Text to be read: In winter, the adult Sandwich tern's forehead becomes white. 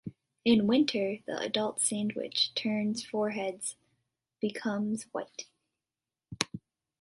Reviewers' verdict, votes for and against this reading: rejected, 1, 2